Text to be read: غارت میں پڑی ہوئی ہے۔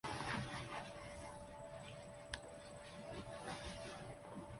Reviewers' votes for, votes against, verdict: 0, 2, rejected